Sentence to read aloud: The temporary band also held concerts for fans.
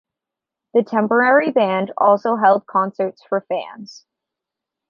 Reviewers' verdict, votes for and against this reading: accepted, 2, 0